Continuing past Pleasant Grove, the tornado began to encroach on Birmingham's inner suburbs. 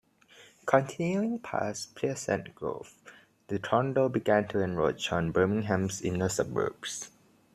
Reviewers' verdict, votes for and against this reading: accepted, 2, 0